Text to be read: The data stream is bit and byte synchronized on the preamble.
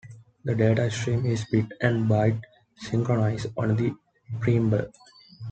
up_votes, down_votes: 2, 0